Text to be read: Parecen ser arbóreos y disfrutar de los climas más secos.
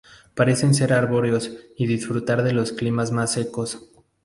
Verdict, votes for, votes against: accepted, 2, 0